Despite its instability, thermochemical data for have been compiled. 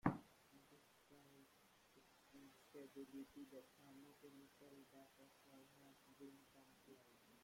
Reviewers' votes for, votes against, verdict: 1, 2, rejected